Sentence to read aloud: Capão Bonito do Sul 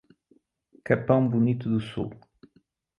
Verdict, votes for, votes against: accepted, 2, 0